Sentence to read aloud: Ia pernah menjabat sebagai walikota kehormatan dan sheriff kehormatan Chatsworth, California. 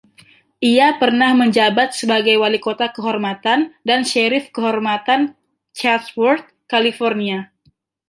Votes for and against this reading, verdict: 2, 0, accepted